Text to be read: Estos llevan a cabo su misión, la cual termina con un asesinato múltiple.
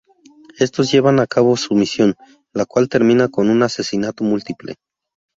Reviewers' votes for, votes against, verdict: 4, 0, accepted